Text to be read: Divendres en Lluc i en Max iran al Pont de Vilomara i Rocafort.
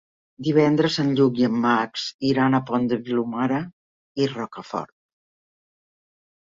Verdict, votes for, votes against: rejected, 0, 2